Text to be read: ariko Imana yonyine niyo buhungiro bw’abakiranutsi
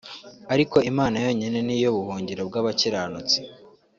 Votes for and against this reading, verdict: 3, 0, accepted